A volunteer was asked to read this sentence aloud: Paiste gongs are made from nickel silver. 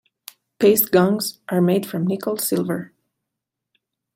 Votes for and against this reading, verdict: 2, 0, accepted